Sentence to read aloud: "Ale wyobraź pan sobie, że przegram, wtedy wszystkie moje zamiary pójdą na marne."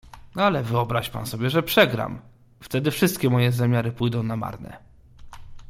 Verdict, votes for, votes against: accepted, 2, 0